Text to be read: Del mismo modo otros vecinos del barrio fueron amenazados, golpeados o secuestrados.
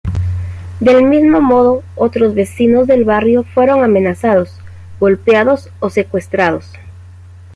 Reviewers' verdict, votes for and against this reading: accepted, 2, 0